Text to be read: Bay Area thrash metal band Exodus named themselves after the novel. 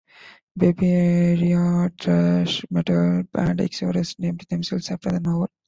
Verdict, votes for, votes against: rejected, 1, 2